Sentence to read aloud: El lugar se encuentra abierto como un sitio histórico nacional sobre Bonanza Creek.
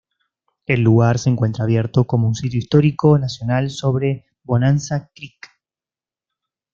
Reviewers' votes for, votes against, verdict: 2, 0, accepted